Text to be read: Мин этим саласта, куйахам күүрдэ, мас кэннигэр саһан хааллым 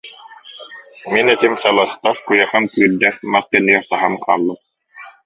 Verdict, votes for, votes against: rejected, 0, 2